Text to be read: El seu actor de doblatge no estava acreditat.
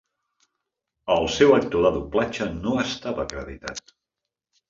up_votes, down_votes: 2, 0